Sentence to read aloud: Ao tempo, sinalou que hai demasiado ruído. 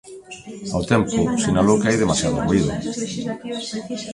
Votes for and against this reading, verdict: 1, 2, rejected